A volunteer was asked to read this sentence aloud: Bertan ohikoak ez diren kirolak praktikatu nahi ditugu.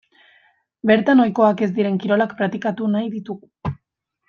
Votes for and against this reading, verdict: 2, 0, accepted